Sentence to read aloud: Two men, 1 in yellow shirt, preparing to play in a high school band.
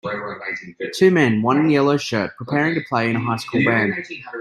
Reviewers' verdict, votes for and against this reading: rejected, 0, 2